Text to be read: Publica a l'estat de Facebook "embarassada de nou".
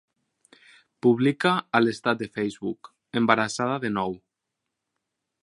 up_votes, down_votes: 4, 0